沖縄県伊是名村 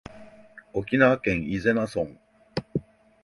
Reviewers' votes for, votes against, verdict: 2, 0, accepted